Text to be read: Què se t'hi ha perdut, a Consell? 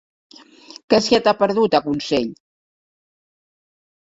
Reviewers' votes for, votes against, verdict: 0, 2, rejected